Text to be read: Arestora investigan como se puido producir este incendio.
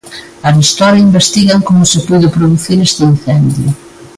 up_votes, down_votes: 2, 0